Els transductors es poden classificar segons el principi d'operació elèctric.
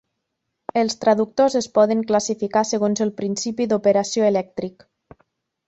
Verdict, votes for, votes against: rejected, 1, 2